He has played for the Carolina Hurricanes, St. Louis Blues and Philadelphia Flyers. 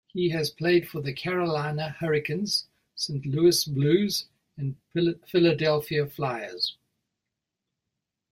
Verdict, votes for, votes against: rejected, 0, 2